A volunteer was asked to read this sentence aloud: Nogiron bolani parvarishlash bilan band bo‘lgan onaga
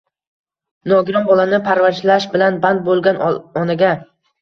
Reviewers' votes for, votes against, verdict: 2, 0, accepted